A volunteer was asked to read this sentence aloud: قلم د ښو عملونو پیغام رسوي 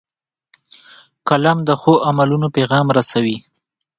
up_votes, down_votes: 2, 1